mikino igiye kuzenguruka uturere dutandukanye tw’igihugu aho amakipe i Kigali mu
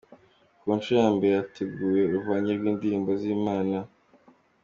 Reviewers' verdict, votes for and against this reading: accepted, 2, 1